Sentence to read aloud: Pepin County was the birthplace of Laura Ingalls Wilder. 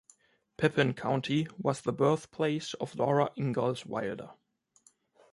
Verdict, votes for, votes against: accepted, 2, 0